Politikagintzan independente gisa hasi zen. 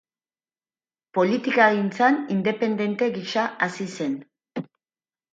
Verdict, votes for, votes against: accepted, 2, 0